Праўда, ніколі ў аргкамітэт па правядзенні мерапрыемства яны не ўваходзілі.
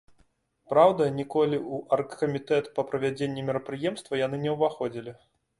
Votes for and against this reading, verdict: 3, 0, accepted